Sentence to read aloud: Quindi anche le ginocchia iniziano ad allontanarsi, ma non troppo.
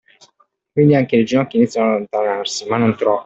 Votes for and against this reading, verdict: 2, 1, accepted